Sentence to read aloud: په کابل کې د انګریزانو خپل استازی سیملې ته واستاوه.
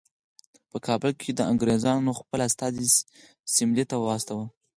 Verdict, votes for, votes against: accepted, 4, 0